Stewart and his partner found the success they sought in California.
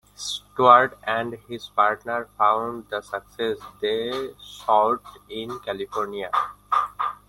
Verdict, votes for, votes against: accepted, 2, 1